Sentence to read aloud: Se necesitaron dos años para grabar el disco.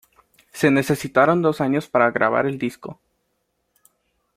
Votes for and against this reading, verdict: 2, 0, accepted